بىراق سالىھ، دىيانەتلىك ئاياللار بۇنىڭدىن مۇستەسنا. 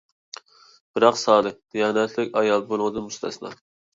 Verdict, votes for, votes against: rejected, 1, 2